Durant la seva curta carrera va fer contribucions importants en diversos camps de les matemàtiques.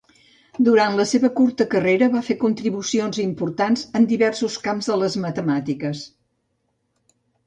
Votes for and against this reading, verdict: 3, 0, accepted